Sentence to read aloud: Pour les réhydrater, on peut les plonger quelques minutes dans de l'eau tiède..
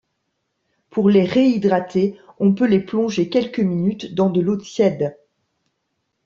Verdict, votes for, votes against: accepted, 2, 0